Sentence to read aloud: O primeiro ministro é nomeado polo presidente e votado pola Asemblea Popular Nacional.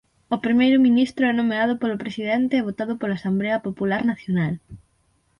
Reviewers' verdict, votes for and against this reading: rejected, 3, 6